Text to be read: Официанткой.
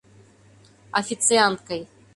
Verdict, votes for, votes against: accepted, 2, 0